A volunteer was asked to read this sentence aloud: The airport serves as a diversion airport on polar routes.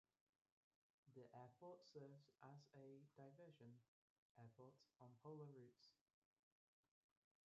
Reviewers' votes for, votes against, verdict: 0, 2, rejected